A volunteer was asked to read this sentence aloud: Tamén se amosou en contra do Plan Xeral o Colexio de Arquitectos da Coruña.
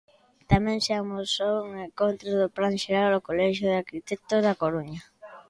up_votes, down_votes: 2, 0